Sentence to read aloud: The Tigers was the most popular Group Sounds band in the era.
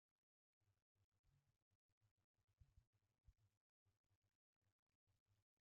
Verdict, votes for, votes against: rejected, 0, 2